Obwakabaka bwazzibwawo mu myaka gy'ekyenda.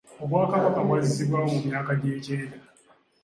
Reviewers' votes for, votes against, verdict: 2, 0, accepted